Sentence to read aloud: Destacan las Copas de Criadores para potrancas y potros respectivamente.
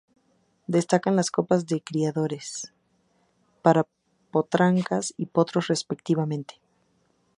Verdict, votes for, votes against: accepted, 4, 0